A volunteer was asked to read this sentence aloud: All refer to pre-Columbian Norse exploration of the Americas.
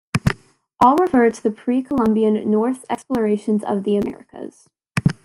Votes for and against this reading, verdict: 0, 2, rejected